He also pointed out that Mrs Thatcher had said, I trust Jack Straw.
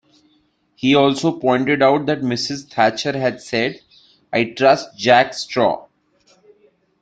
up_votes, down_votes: 2, 0